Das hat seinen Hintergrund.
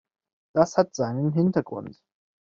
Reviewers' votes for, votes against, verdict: 2, 1, accepted